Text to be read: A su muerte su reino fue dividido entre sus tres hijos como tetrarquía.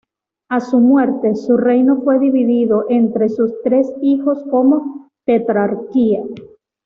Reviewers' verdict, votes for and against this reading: accepted, 2, 0